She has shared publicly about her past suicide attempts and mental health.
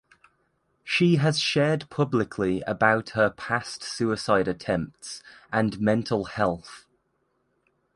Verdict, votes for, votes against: accepted, 2, 0